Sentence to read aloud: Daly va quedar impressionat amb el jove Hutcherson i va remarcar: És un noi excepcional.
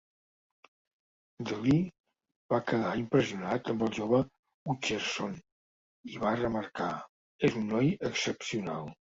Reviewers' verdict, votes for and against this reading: rejected, 1, 2